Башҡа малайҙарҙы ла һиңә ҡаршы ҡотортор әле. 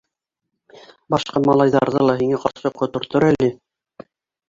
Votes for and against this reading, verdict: 1, 2, rejected